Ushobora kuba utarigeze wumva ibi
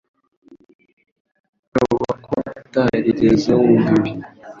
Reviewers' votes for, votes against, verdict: 1, 2, rejected